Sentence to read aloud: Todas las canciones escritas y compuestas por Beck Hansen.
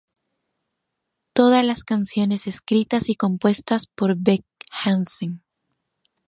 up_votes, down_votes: 2, 2